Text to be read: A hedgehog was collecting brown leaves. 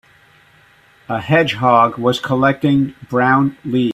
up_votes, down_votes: 1, 3